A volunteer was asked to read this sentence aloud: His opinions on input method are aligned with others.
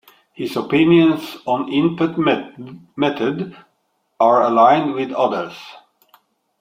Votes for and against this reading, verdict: 1, 2, rejected